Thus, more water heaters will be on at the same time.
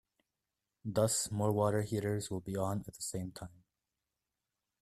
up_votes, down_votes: 0, 2